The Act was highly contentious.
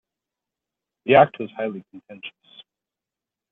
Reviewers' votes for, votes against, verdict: 2, 0, accepted